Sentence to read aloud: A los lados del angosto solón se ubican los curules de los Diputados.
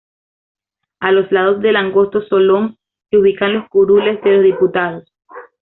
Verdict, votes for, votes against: accepted, 2, 0